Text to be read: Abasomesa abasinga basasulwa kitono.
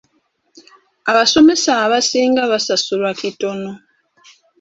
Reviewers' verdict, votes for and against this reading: accepted, 2, 0